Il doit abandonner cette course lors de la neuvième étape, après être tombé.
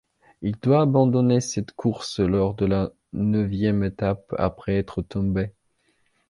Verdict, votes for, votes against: accepted, 2, 0